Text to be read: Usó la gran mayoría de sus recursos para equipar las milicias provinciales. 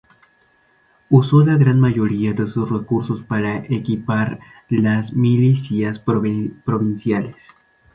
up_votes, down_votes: 0, 2